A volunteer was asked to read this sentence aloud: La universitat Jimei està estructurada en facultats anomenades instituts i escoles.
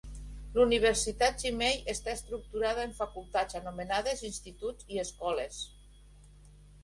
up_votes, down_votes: 1, 2